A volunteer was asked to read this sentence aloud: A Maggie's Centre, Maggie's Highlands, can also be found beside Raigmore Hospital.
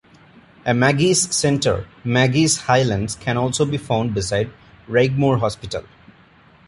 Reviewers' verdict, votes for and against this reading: accepted, 2, 0